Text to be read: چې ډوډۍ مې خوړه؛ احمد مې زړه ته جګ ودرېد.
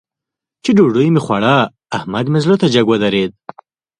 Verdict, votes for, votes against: accepted, 2, 0